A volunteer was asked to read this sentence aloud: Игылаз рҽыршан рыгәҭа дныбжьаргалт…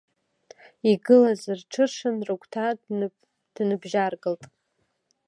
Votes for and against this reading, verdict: 2, 0, accepted